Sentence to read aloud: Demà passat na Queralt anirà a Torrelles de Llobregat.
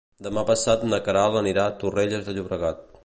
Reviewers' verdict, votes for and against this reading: accepted, 2, 0